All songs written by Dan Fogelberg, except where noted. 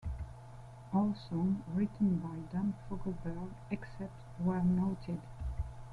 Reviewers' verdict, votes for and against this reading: rejected, 1, 2